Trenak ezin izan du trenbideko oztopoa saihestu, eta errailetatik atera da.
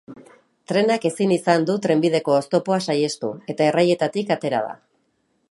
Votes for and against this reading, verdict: 2, 1, accepted